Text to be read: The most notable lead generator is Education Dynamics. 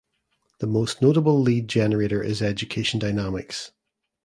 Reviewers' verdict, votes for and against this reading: accepted, 2, 0